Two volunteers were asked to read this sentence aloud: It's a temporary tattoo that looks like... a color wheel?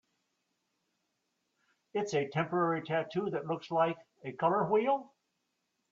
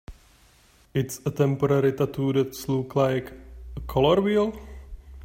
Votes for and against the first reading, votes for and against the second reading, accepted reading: 2, 0, 2, 3, first